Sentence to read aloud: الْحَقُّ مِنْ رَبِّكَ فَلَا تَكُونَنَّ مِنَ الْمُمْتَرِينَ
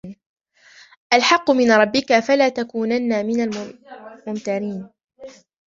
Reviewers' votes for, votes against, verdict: 1, 2, rejected